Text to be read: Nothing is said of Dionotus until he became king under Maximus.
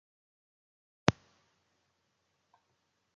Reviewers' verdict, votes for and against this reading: rejected, 0, 2